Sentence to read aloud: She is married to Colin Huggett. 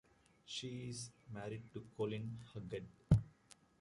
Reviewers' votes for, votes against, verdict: 1, 2, rejected